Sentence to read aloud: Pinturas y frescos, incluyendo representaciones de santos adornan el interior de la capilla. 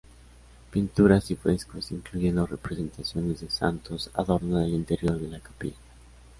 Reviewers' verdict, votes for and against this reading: accepted, 2, 1